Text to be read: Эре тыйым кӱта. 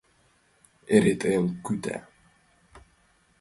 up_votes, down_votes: 2, 0